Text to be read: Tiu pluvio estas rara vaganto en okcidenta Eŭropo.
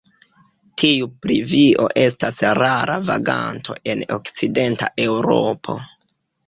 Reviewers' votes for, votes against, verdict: 1, 2, rejected